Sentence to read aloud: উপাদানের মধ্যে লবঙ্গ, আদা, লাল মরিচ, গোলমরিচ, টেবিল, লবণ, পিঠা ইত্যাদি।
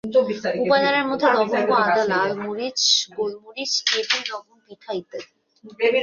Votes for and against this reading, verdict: 1, 2, rejected